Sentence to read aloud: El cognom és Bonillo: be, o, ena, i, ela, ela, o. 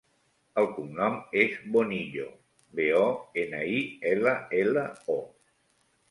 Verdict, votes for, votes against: accepted, 3, 0